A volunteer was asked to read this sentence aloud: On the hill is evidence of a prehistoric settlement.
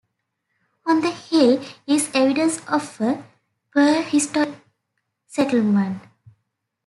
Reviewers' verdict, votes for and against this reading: accepted, 2, 1